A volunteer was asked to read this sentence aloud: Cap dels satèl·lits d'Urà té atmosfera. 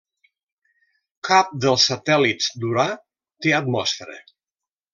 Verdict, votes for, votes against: rejected, 0, 2